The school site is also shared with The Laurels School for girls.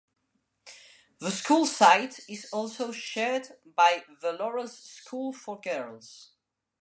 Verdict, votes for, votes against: rejected, 0, 2